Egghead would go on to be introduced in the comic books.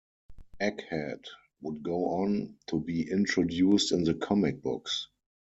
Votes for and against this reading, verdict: 4, 0, accepted